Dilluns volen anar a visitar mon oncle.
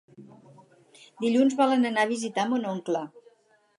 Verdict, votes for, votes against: accepted, 4, 0